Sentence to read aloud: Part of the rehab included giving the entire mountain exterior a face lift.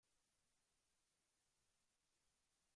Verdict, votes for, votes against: rejected, 0, 2